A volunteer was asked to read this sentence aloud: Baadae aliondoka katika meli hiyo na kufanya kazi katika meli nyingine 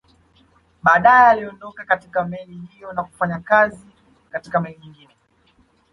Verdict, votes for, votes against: rejected, 0, 2